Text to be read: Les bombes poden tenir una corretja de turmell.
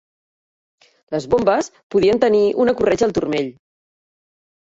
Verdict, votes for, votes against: rejected, 0, 2